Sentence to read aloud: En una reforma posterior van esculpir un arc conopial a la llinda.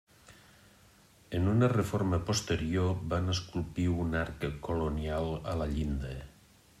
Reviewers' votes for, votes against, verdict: 0, 2, rejected